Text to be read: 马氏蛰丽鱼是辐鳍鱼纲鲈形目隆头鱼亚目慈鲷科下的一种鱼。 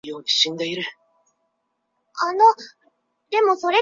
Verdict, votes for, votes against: rejected, 0, 2